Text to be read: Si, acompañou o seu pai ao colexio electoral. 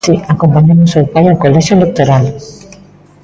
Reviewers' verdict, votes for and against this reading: rejected, 0, 2